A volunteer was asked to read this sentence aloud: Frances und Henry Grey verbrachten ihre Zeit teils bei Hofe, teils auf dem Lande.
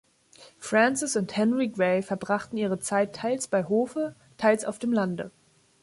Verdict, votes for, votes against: accepted, 2, 0